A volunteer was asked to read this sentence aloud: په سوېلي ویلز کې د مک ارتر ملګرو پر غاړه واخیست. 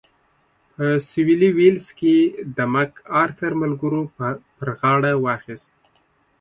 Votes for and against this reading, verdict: 1, 2, rejected